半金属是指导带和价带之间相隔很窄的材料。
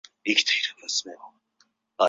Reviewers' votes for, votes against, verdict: 0, 2, rejected